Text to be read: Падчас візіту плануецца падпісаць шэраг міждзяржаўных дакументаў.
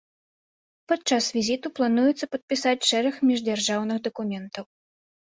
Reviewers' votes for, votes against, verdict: 2, 0, accepted